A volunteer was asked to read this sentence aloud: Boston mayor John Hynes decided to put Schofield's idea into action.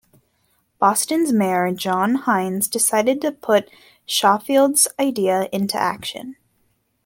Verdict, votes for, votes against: rejected, 1, 2